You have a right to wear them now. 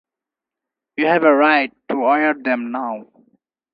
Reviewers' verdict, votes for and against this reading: accepted, 4, 2